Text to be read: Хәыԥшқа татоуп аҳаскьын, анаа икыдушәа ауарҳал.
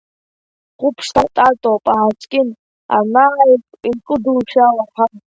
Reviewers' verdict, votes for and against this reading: rejected, 0, 2